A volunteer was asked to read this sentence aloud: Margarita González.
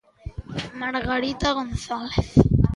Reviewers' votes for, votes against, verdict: 1, 2, rejected